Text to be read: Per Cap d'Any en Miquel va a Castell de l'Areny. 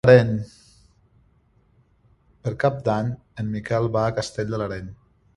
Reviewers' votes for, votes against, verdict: 1, 2, rejected